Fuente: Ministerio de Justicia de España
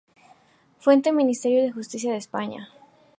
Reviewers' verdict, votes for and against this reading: accepted, 4, 0